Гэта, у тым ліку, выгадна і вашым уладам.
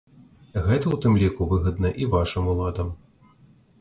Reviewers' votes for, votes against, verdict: 2, 0, accepted